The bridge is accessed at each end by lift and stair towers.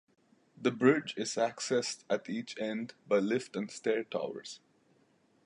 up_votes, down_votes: 2, 0